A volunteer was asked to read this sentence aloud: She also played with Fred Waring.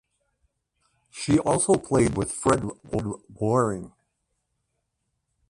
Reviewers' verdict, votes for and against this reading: rejected, 1, 2